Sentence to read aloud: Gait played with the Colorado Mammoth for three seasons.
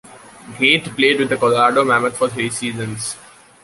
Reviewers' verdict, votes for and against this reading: accepted, 2, 0